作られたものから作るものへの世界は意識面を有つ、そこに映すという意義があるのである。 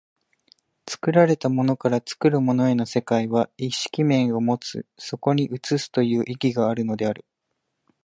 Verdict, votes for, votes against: accepted, 2, 0